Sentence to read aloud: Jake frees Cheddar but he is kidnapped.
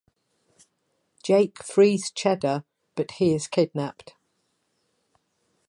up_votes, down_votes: 2, 0